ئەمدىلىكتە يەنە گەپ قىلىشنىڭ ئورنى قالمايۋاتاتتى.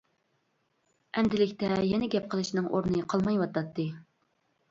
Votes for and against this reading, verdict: 2, 0, accepted